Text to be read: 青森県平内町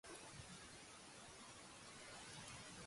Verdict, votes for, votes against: rejected, 0, 2